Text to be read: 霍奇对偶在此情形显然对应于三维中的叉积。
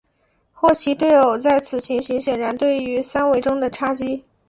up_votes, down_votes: 4, 0